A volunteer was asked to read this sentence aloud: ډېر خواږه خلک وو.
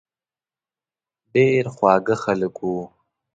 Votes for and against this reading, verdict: 2, 0, accepted